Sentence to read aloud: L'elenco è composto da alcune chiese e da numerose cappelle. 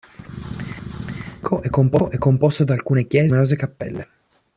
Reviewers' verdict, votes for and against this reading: rejected, 0, 2